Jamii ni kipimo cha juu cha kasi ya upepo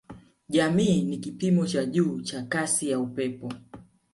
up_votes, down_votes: 2, 0